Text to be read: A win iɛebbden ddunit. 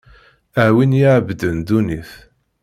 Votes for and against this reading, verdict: 2, 0, accepted